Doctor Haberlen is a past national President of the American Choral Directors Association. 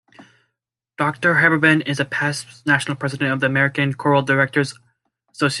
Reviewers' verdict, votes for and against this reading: rejected, 0, 2